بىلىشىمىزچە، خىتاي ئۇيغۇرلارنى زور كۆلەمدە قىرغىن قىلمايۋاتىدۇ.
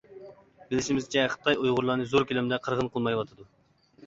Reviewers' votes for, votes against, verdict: 2, 1, accepted